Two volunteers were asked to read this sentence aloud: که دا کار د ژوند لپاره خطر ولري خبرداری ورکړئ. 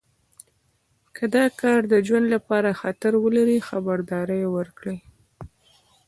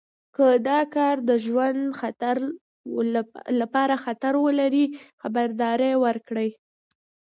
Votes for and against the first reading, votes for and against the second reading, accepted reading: 1, 2, 2, 0, second